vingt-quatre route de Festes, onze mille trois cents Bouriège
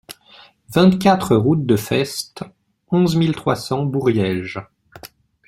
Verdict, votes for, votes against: accepted, 2, 0